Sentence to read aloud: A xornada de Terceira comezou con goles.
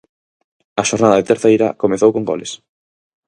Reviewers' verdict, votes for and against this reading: accepted, 4, 0